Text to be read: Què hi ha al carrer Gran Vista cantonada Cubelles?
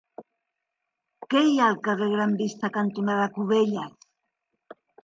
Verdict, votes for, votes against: rejected, 1, 2